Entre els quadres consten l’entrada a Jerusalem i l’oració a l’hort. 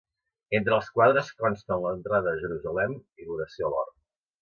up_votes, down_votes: 3, 0